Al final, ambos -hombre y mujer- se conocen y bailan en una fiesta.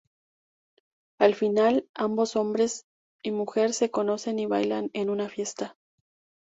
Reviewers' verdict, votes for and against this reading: rejected, 0, 2